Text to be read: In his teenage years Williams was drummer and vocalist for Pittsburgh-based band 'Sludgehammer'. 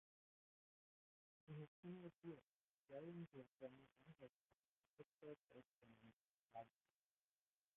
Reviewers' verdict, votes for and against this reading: rejected, 0, 2